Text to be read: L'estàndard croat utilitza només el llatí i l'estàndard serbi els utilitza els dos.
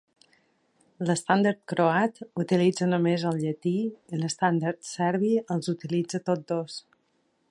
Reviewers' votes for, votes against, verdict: 1, 2, rejected